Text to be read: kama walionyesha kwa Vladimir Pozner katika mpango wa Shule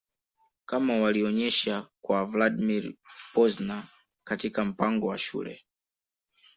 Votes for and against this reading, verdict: 2, 0, accepted